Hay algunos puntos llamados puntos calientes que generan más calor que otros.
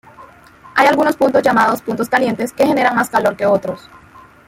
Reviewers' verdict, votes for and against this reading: rejected, 1, 2